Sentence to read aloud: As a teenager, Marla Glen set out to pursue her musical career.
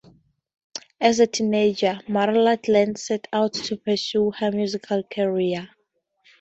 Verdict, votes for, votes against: accepted, 2, 0